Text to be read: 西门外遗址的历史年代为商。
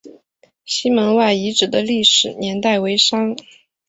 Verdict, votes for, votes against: accepted, 2, 0